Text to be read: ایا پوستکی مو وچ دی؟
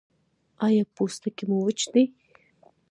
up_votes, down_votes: 0, 2